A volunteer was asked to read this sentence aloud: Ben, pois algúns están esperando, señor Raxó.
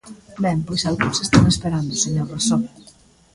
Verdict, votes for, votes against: rejected, 1, 2